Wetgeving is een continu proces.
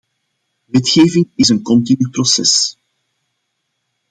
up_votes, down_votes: 2, 1